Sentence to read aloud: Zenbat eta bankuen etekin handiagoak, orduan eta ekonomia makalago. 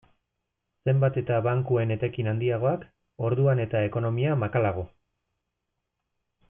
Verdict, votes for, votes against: accepted, 2, 0